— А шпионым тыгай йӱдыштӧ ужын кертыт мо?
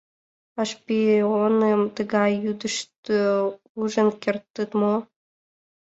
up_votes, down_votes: 0, 2